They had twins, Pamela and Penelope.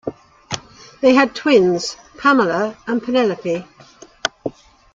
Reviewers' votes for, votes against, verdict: 2, 0, accepted